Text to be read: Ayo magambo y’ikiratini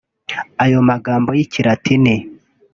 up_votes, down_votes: 2, 0